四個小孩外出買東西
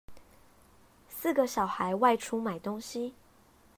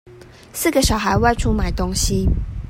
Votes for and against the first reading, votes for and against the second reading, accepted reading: 0, 2, 2, 0, second